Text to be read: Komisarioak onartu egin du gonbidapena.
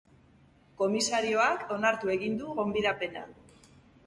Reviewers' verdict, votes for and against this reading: accepted, 3, 0